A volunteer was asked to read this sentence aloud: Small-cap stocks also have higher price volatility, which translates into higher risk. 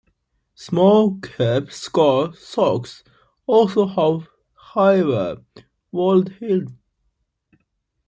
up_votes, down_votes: 0, 2